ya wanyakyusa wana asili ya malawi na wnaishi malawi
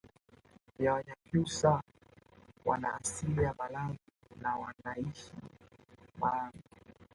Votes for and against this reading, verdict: 1, 2, rejected